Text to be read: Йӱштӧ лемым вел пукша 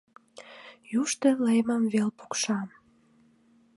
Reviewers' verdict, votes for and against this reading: rejected, 0, 2